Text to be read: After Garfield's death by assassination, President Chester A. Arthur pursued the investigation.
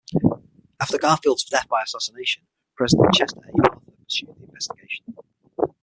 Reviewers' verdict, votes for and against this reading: rejected, 0, 6